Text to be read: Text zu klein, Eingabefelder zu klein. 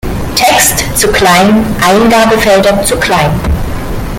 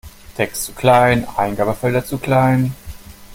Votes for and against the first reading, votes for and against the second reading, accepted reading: 0, 2, 2, 0, second